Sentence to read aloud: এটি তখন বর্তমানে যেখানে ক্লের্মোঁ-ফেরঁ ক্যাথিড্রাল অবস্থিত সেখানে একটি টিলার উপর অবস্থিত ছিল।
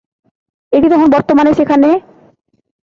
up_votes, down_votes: 0, 2